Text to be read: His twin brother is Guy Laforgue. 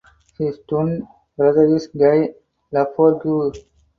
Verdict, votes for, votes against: rejected, 2, 2